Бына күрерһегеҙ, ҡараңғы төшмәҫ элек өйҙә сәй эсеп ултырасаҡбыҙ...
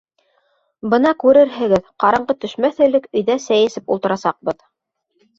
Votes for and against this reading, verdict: 2, 0, accepted